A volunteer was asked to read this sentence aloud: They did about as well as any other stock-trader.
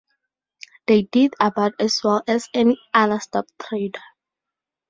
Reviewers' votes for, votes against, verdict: 4, 2, accepted